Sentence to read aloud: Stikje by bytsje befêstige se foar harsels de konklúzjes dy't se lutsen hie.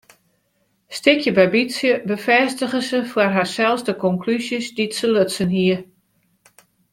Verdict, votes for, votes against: accepted, 2, 0